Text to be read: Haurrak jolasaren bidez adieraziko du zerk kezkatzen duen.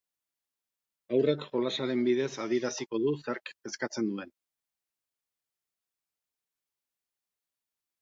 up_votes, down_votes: 2, 0